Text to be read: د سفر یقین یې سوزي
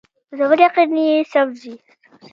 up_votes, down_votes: 2, 1